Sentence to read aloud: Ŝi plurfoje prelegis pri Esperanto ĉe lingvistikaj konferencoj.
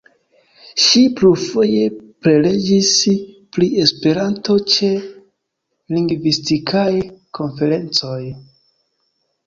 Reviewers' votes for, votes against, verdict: 3, 2, accepted